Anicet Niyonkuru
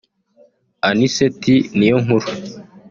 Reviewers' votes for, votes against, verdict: 2, 1, accepted